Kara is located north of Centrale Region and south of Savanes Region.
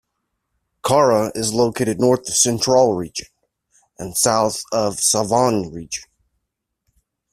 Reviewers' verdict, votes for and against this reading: rejected, 1, 2